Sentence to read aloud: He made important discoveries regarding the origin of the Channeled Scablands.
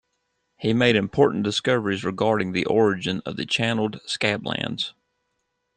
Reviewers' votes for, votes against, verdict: 2, 0, accepted